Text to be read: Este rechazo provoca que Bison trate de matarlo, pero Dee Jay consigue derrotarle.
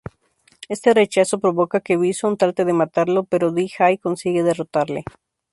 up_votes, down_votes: 2, 0